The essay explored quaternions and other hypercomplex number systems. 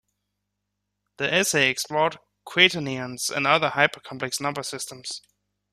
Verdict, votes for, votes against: rejected, 2, 3